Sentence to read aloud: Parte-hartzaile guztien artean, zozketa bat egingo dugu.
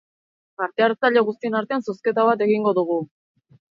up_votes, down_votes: 2, 0